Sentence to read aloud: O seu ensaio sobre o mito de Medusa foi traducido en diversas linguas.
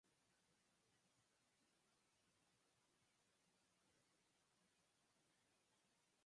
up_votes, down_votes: 0, 4